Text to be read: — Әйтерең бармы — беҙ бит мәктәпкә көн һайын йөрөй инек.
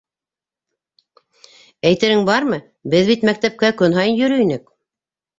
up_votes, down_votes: 2, 0